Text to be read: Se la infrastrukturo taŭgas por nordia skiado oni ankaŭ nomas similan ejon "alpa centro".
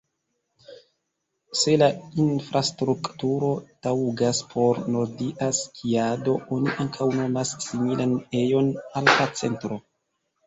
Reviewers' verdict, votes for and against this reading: rejected, 1, 2